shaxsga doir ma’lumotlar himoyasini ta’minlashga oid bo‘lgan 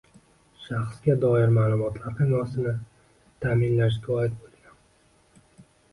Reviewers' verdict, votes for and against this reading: rejected, 0, 2